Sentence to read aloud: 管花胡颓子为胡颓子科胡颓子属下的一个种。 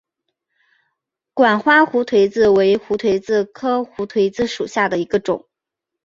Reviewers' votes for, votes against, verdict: 3, 2, accepted